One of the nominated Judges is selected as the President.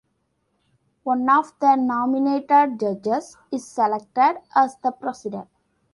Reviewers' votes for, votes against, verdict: 2, 0, accepted